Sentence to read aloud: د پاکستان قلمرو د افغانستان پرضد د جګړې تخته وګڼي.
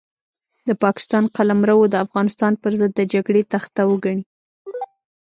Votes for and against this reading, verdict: 1, 2, rejected